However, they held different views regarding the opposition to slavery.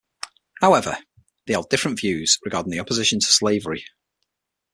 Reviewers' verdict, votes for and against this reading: accepted, 6, 0